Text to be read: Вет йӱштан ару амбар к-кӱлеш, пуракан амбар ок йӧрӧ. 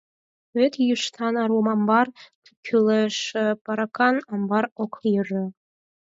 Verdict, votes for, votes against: rejected, 0, 4